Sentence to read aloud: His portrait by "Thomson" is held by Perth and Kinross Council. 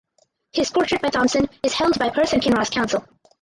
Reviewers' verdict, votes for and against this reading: rejected, 2, 4